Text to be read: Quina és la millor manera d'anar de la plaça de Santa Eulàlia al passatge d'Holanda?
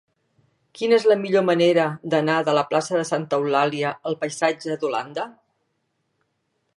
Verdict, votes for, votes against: rejected, 1, 2